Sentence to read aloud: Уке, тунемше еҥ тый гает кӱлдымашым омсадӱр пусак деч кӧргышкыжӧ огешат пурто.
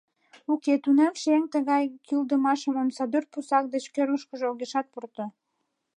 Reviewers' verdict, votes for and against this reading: rejected, 0, 2